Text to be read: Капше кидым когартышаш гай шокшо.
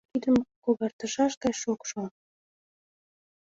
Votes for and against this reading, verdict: 1, 6, rejected